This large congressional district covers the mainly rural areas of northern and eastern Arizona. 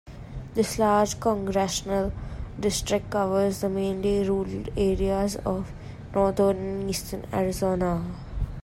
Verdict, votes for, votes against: rejected, 1, 2